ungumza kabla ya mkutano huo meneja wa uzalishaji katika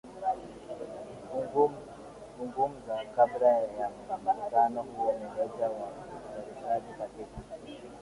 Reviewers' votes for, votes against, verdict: 0, 2, rejected